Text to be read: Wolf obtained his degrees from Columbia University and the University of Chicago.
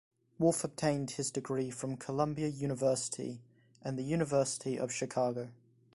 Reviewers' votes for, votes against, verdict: 1, 2, rejected